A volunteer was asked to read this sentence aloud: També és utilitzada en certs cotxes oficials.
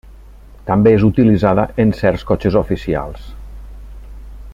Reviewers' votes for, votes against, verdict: 0, 2, rejected